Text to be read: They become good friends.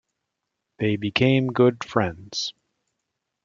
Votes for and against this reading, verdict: 1, 2, rejected